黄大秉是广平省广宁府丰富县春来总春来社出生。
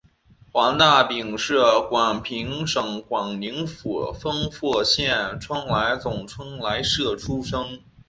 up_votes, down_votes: 2, 0